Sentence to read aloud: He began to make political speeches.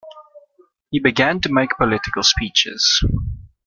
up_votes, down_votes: 2, 0